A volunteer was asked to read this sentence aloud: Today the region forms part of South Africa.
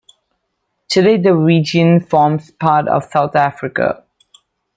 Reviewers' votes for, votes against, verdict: 2, 0, accepted